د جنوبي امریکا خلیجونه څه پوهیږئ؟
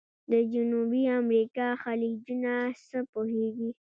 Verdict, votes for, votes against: rejected, 1, 2